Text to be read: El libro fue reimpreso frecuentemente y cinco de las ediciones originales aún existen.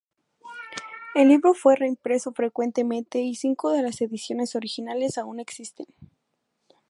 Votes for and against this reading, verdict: 4, 0, accepted